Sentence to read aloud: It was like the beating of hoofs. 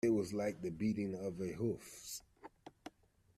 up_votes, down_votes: 1, 2